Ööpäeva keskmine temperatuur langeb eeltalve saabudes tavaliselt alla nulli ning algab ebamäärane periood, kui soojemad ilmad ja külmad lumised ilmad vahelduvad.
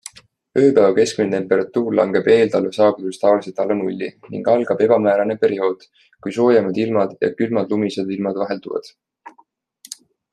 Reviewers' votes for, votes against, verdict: 2, 0, accepted